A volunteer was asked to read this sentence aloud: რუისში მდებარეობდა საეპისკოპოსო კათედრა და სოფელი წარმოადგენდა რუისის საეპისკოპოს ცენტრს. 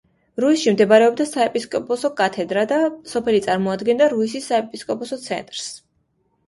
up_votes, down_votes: 2, 0